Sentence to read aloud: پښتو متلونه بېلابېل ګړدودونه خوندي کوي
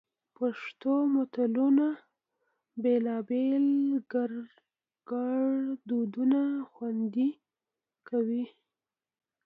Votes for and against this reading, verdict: 2, 1, accepted